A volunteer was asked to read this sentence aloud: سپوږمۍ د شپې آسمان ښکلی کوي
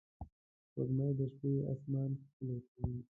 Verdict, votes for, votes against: rejected, 0, 2